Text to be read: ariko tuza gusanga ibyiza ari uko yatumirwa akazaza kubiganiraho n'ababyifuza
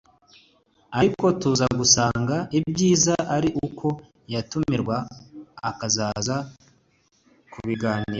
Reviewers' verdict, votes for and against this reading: rejected, 1, 2